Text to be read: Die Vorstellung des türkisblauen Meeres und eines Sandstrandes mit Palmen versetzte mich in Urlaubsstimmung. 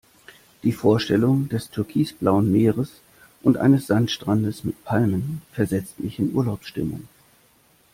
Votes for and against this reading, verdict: 0, 2, rejected